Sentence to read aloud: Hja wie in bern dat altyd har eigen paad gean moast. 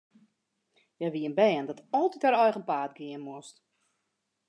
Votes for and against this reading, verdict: 3, 0, accepted